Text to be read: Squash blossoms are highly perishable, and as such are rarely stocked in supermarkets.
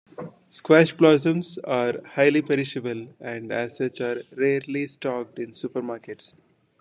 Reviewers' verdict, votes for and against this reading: accepted, 2, 0